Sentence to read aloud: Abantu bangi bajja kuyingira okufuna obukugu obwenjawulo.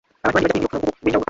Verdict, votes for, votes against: rejected, 0, 2